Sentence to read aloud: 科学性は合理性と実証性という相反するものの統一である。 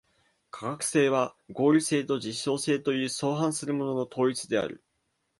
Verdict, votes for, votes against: accepted, 2, 0